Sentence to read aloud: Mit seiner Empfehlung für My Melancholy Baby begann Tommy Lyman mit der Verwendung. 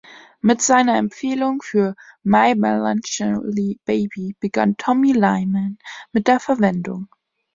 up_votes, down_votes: 2, 1